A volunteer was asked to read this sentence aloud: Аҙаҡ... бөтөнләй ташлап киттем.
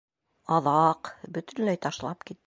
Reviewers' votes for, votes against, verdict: 1, 2, rejected